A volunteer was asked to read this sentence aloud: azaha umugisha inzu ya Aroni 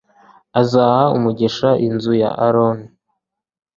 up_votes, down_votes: 2, 0